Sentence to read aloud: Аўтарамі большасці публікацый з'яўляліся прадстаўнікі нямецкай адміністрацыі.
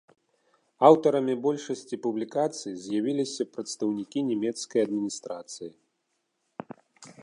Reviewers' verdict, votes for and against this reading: rejected, 0, 2